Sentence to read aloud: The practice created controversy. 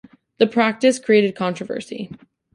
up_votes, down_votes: 2, 0